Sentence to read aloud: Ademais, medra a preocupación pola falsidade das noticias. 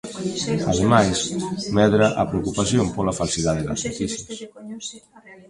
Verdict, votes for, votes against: rejected, 1, 2